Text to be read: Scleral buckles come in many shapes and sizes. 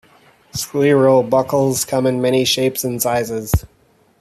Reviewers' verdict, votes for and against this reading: accepted, 2, 0